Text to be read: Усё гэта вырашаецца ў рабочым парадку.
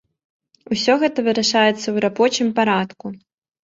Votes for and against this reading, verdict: 1, 2, rejected